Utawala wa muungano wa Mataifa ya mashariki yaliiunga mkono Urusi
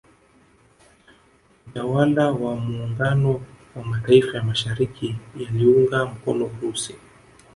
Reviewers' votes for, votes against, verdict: 0, 2, rejected